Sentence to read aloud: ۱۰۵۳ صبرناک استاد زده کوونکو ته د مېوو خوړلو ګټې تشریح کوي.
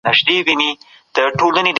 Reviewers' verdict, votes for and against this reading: rejected, 0, 2